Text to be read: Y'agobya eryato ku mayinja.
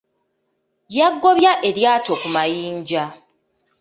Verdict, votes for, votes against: rejected, 1, 2